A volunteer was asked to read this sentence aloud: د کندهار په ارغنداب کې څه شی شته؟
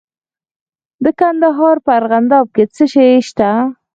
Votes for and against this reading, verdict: 2, 4, rejected